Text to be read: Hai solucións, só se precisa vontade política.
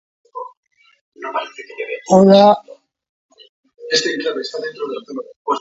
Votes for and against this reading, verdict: 0, 2, rejected